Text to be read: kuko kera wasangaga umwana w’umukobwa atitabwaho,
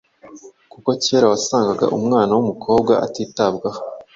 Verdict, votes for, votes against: accepted, 2, 0